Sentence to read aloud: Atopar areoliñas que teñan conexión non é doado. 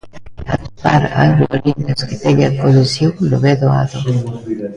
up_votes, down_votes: 0, 2